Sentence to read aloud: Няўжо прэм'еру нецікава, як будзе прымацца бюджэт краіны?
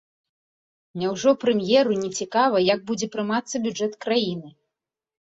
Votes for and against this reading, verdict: 2, 0, accepted